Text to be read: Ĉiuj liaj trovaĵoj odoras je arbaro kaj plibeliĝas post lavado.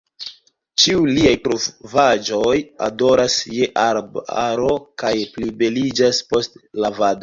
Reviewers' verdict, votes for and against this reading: rejected, 1, 2